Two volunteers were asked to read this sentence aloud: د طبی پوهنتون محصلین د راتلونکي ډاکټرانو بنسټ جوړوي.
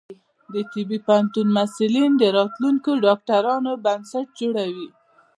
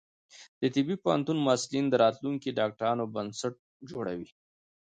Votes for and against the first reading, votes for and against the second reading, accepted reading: 2, 0, 1, 2, first